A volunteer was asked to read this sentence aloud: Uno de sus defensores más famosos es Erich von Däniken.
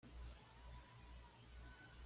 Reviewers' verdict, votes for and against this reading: rejected, 1, 2